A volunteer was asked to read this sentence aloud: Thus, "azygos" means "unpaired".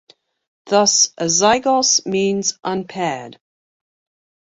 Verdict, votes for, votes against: rejected, 1, 2